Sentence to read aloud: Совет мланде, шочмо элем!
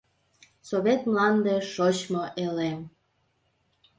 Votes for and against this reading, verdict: 2, 0, accepted